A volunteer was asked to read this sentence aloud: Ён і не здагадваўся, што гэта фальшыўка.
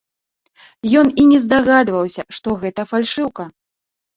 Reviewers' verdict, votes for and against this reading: accepted, 2, 0